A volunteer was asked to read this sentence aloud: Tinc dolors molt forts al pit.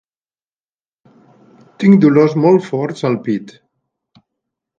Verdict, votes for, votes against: rejected, 0, 2